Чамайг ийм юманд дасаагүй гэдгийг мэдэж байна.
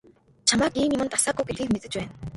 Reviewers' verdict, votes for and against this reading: rejected, 1, 2